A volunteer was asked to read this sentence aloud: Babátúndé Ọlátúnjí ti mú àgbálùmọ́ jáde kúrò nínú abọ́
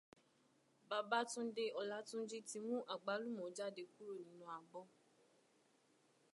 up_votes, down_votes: 2, 0